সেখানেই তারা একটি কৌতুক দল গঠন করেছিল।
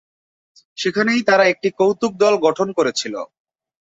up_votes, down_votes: 2, 0